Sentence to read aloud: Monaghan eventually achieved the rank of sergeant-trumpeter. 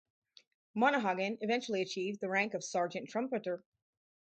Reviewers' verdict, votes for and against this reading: rejected, 2, 2